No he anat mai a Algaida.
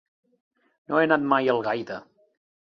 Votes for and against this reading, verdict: 1, 2, rejected